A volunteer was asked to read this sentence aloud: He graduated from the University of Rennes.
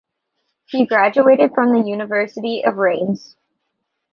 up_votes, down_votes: 2, 0